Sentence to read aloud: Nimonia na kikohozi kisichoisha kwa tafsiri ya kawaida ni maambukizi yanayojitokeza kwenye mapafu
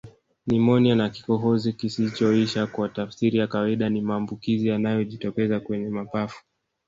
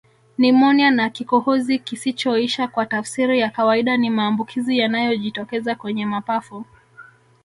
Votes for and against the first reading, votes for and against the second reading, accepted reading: 7, 0, 1, 2, first